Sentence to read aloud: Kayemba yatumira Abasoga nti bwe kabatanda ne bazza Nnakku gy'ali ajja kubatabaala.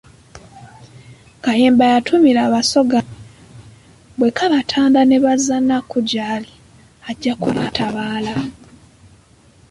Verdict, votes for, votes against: rejected, 0, 2